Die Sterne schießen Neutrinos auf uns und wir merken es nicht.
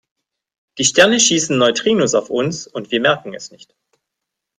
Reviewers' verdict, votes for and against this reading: accepted, 2, 0